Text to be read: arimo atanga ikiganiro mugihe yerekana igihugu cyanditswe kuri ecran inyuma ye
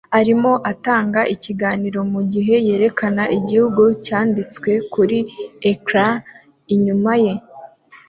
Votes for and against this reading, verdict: 2, 0, accepted